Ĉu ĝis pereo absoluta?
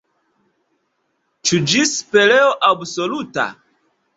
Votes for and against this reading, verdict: 1, 2, rejected